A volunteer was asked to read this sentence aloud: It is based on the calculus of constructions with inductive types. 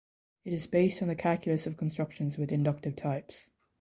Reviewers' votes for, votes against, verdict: 2, 0, accepted